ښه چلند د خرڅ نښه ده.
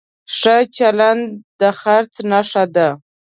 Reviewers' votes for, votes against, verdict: 2, 0, accepted